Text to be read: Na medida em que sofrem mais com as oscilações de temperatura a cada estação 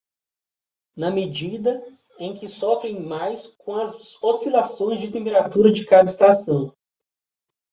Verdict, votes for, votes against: rejected, 0, 2